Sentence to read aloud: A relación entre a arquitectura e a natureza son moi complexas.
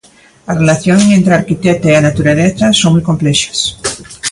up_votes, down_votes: 1, 2